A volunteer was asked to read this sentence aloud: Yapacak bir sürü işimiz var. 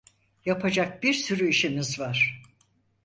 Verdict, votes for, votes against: accepted, 4, 0